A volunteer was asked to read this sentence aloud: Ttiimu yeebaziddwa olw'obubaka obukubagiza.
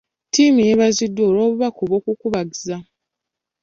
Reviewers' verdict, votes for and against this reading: rejected, 1, 2